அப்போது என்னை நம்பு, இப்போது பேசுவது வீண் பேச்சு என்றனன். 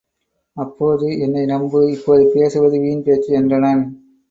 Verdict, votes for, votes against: accepted, 2, 0